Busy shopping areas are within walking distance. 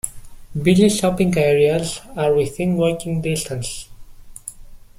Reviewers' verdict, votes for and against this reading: accepted, 2, 0